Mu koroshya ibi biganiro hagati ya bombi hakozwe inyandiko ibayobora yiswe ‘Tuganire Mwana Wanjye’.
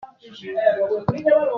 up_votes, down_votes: 0, 2